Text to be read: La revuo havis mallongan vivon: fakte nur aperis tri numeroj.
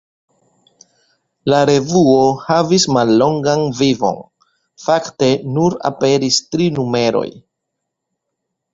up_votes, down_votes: 2, 0